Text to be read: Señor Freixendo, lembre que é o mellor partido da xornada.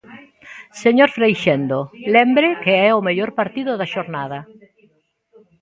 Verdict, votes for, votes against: rejected, 1, 2